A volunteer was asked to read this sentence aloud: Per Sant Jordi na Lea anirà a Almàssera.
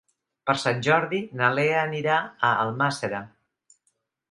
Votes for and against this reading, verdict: 2, 0, accepted